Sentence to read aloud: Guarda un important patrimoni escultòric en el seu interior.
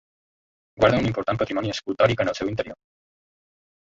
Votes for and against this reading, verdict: 2, 0, accepted